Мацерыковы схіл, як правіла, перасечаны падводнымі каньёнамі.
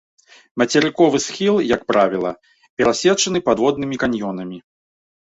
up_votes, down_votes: 2, 1